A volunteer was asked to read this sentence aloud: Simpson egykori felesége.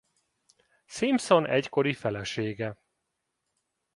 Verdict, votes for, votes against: accepted, 3, 0